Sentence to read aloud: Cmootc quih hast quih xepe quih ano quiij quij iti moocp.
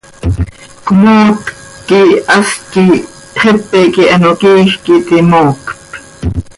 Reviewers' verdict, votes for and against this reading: accepted, 2, 0